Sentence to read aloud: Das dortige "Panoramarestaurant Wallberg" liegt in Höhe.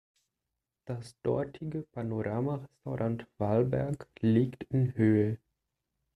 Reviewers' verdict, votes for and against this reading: rejected, 1, 2